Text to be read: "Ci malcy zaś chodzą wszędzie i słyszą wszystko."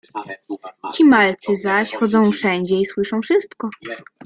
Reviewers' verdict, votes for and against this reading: rejected, 1, 2